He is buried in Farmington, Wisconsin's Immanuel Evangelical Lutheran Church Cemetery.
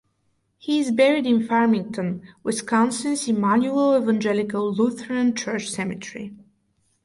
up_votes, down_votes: 2, 2